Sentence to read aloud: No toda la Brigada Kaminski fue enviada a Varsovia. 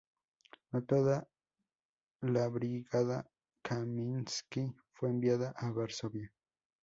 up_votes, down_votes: 0, 2